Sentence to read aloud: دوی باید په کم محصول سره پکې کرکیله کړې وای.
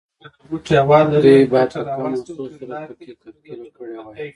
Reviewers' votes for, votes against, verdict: 0, 2, rejected